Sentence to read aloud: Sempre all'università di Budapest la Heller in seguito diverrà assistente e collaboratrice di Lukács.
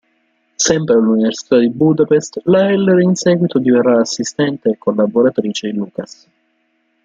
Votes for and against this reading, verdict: 1, 2, rejected